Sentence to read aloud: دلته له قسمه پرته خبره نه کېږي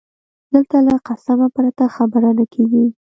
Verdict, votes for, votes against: rejected, 0, 2